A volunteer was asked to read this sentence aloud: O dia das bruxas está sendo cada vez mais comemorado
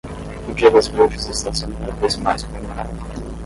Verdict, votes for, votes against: rejected, 5, 5